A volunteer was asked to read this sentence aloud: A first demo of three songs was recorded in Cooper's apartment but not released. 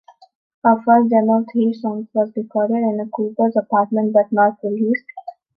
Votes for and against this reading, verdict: 1, 2, rejected